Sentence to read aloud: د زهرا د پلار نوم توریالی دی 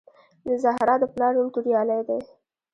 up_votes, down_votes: 2, 1